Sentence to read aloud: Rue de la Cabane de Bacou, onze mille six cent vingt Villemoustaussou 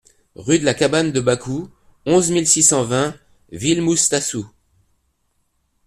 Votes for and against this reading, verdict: 0, 2, rejected